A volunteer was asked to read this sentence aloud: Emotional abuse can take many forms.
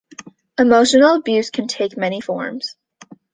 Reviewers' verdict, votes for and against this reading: accepted, 2, 0